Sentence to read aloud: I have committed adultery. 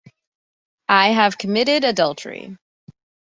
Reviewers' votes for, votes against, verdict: 2, 0, accepted